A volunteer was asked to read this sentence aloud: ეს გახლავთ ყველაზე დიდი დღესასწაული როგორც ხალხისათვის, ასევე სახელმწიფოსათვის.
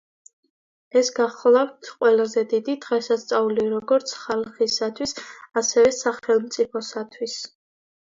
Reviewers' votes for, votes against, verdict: 2, 0, accepted